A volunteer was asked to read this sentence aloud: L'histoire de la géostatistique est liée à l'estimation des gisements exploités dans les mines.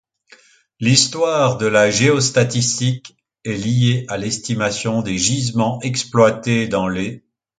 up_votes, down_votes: 1, 2